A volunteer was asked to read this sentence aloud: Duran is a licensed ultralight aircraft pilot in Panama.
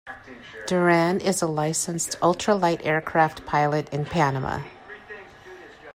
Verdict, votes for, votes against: accepted, 2, 1